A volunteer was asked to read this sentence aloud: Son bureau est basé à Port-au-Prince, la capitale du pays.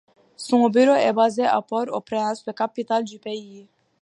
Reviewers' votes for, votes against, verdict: 2, 0, accepted